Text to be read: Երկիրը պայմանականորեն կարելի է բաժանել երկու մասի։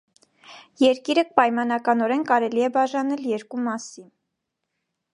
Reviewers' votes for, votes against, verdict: 2, 0, accepted